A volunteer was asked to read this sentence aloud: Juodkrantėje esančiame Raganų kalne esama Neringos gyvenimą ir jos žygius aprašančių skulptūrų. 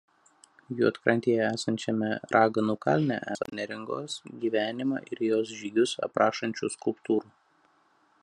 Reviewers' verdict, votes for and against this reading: rejected, 0, 2